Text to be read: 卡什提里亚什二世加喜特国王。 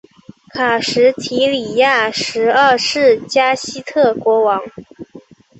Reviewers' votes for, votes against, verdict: 2, 0, accepted